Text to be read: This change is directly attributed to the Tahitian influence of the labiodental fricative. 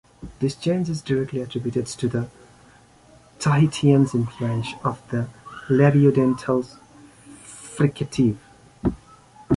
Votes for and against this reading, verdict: 0, 2, rejected